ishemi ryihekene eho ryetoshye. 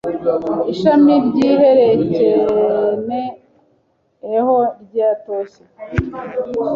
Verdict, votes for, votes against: rejected, 0, 2